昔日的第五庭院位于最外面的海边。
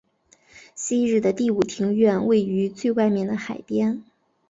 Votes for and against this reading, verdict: 2, 0, accepted